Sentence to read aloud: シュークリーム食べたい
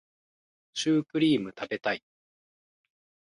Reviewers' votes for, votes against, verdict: 1, 2, rejected